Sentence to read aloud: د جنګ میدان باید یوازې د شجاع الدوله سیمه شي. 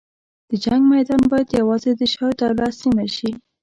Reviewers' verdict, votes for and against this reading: rejected, 1, 2